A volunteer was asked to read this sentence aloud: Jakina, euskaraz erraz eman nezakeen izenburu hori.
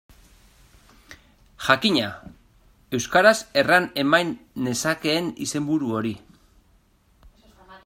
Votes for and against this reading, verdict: 0, 2, rejected